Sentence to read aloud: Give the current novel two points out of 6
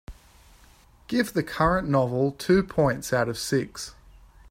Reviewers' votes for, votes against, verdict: 0, 2, rejected